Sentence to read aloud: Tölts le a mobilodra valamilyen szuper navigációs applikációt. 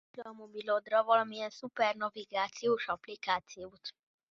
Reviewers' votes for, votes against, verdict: 0, 2, rejected